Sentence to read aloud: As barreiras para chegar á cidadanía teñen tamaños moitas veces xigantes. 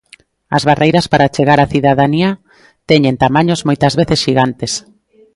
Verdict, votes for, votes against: accepted, 2, 0